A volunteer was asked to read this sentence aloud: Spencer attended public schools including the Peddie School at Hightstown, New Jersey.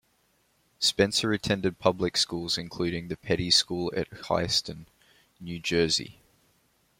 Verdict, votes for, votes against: rejected, 1, 2